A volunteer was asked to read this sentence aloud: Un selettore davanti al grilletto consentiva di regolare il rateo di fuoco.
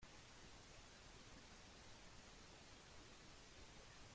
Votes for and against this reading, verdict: 0, 2, rejected